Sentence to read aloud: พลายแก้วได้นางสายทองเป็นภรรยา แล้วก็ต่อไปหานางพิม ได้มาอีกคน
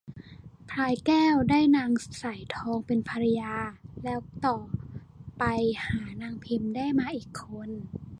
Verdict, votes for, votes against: rejected, 0, 2